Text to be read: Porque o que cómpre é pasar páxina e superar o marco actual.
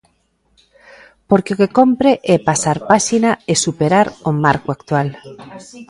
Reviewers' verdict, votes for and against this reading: rejected, 1, 2